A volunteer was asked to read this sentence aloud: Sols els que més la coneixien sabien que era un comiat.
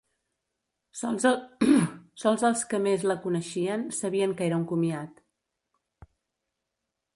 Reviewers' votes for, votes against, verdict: 0, 2, rejected